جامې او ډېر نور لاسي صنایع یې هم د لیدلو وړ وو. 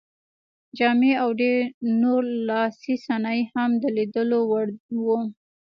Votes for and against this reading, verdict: 2, 0, accepted